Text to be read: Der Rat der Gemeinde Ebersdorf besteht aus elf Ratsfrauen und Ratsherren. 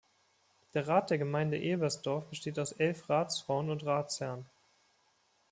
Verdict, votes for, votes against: accepted, 2, 0